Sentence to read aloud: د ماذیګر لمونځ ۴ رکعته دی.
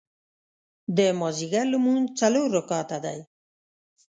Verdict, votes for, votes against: rejected, 0, 2